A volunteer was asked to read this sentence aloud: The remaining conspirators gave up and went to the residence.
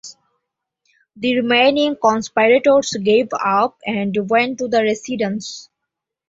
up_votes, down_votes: 2, 0